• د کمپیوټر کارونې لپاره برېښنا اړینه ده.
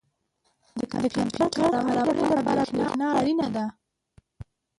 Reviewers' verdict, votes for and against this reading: rejected, 0, 2